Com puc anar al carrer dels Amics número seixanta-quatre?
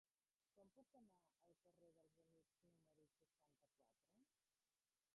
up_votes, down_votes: 0, 2